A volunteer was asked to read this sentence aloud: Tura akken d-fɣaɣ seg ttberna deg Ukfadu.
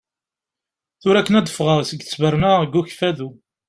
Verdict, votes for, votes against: accepted, 2, 0